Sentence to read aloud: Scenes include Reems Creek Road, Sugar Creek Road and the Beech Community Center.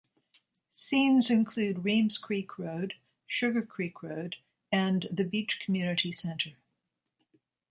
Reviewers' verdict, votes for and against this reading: accepted, 2, 0